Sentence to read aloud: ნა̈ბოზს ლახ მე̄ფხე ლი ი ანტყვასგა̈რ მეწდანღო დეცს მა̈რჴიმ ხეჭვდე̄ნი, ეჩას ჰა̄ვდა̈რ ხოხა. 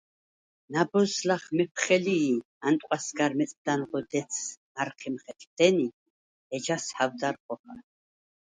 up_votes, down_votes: 2, 4